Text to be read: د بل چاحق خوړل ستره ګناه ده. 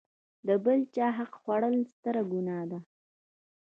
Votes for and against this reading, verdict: 0, 2, rejected